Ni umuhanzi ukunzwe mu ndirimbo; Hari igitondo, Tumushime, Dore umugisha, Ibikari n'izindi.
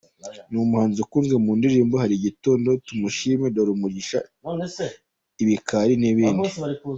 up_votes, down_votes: 1, 2